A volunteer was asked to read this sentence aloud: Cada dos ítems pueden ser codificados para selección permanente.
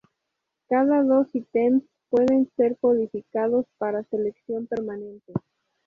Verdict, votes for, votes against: accepted, 2, 0